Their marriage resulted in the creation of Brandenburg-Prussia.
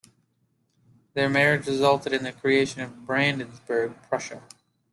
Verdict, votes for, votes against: accepted, 2, 0